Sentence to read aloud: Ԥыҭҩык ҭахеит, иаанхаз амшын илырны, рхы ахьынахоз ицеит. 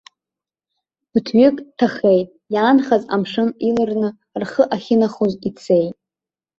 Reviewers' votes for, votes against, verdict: 1, 2, rejected